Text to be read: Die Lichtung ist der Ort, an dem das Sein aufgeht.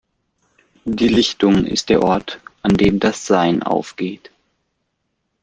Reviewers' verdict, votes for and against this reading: accepted, 2, 1